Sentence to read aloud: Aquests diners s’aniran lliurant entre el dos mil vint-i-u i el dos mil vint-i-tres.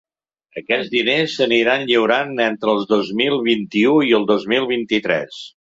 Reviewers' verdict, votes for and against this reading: rejected, 1, 2